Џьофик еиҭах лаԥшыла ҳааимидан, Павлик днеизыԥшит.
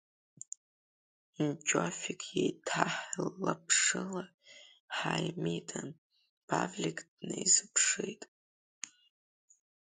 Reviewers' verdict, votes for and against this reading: rejected, 1, 2